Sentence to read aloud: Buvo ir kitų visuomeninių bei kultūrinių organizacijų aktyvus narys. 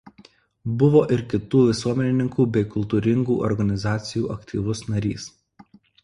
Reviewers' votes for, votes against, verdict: 0, 2, rejected